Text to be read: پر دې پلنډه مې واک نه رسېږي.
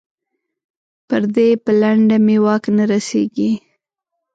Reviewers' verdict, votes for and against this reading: accepted, 6, 0